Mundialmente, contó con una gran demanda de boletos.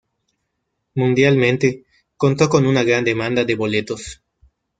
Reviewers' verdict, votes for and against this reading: accepted, 2, 0